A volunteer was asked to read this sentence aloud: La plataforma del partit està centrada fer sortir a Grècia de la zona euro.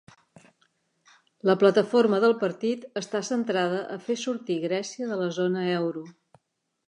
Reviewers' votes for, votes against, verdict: 0, 2, rejected